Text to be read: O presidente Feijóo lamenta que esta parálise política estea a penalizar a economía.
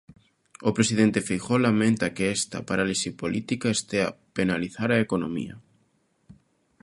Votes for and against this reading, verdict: 1, 2, rejected